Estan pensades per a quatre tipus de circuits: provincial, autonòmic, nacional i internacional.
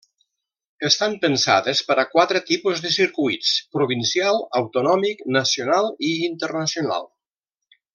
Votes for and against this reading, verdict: 4, 0, accepted